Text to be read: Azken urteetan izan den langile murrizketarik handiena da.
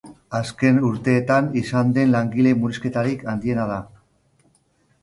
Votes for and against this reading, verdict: 1, 2, rejected